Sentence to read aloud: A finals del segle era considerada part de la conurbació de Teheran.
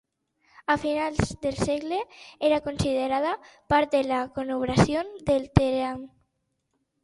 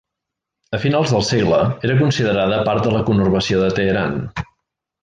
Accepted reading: second